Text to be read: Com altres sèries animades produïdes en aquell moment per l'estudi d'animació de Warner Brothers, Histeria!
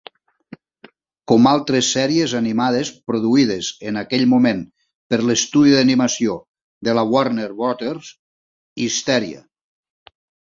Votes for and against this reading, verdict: 0, 2, rejected